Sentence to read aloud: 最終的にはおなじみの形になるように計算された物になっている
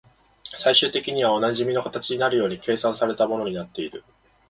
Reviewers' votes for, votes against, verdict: 2, 0, accepted